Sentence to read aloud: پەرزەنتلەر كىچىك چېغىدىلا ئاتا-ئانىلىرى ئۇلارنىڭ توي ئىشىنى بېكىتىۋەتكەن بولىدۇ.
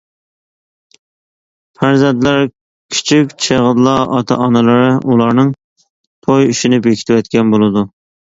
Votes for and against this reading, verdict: 2, 0, accepted